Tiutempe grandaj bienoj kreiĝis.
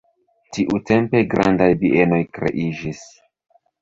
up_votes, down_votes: 0, 2